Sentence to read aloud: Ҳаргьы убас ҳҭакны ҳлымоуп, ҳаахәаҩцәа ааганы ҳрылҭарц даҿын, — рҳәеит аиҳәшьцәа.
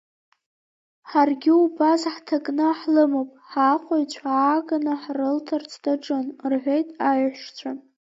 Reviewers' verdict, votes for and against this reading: rejected, 2, 3